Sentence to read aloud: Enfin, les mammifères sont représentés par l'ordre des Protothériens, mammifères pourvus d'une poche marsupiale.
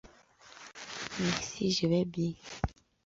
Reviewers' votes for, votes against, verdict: 0, 2, rejected